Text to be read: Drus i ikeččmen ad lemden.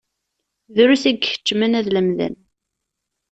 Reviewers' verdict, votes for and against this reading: accepted, 2, 0